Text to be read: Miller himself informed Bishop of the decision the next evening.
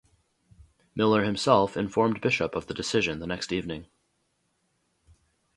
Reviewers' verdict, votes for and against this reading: accepted, 2, 0